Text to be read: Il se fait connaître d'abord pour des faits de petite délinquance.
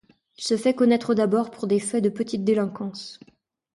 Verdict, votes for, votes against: accepted, 2, 0